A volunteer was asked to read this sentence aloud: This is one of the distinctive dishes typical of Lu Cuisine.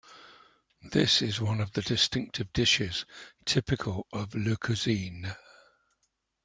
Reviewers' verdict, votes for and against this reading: accepted, 2, 0